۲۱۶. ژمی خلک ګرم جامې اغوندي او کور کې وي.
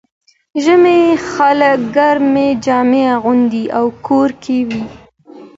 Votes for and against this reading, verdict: 0, 2, rejected